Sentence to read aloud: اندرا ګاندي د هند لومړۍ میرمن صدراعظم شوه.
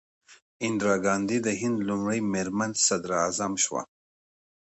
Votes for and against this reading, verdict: 2, 0, accepted